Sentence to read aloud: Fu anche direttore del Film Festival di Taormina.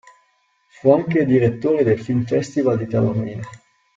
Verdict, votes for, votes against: accepted, 2, 0